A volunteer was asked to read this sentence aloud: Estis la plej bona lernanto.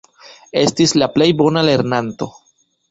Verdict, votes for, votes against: rejected, 1, 2